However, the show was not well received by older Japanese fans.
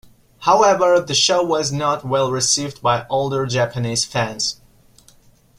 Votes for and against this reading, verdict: 2, 0, accepted